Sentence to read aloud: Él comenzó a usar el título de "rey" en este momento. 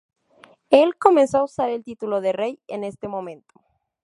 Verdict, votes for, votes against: rejected, 0, 2